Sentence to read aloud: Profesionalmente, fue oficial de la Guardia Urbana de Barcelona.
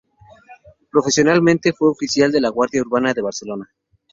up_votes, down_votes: 4, 0